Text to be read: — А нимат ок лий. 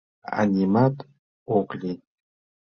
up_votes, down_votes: 2, 0